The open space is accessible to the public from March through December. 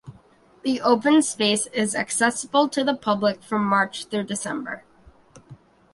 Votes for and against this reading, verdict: 2, 1, accepted